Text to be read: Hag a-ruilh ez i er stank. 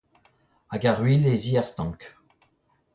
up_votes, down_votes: 0, 2